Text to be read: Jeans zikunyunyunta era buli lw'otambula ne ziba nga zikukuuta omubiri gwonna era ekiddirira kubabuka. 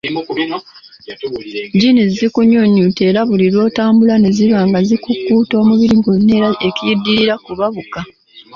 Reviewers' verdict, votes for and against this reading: rejected, 0, 3